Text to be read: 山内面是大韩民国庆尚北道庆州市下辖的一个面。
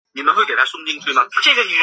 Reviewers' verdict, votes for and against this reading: rejected, 0, 3